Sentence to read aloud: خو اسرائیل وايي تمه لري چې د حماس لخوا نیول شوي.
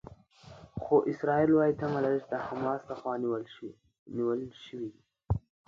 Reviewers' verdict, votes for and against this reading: rejected, 1, 2